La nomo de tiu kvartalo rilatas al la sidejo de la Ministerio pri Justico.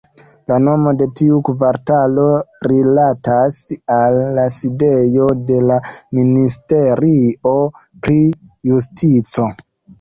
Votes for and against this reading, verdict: 2, 1, accepted